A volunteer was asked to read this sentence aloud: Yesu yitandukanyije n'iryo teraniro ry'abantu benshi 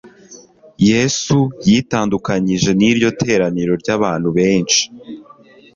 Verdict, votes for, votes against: accepted, 2, 0